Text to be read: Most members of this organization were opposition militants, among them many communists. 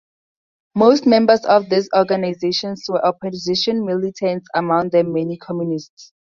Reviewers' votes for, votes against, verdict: 0, 2, rejected